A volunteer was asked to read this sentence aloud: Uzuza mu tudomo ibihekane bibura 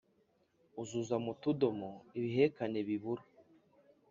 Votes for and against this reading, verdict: 2, 0, accepted